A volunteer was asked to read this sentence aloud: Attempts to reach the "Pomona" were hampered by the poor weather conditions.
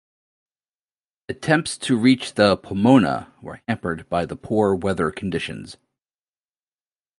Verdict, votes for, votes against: accepted, 2, 0